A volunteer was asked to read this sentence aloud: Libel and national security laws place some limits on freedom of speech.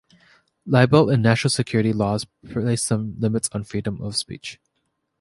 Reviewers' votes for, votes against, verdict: 2, 1, accepted